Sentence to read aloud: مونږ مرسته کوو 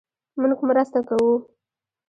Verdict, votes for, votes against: rejected, 1, 2